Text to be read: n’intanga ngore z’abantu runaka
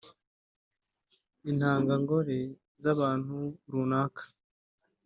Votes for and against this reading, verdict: 1, 2, rejected